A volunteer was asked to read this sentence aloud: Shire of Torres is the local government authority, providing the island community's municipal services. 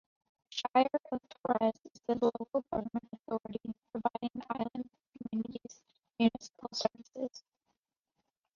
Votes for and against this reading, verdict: 0, 2, rejected